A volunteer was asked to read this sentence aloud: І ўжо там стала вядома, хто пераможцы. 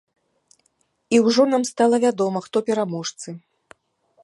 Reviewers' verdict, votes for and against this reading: rejected, 0, 2